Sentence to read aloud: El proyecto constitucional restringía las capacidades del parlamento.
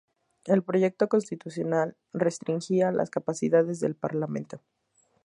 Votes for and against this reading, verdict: 0, 2, rejected